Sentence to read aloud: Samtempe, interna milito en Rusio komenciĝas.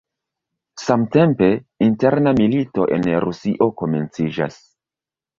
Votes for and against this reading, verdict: 0, 2, rejected